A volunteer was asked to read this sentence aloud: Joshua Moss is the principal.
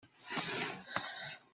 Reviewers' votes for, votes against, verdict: 0, 2, rejected